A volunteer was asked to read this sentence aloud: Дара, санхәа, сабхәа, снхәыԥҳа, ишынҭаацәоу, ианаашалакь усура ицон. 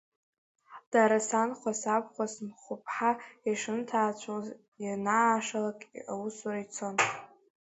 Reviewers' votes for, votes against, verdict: 1, 2, rejected